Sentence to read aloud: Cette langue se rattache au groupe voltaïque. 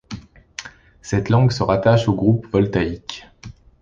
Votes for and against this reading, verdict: 2, 0, accepted